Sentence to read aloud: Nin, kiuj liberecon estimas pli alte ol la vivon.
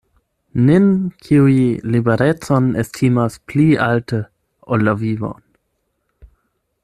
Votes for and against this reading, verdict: 4, 8, rejected